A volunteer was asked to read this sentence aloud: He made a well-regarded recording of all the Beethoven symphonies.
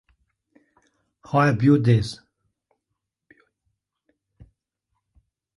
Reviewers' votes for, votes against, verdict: 0, 2, rejected